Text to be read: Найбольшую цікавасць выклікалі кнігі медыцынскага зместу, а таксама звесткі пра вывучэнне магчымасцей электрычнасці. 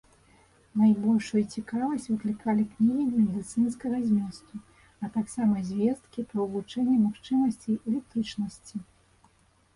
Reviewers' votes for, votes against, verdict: 1, 2, rejected